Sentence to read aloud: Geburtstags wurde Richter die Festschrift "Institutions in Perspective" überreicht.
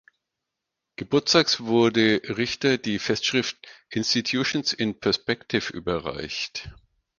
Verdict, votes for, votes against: accepted, 4, 0